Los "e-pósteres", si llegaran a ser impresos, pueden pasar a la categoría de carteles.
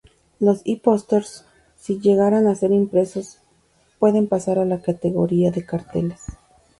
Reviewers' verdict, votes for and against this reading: accepted, 2, 0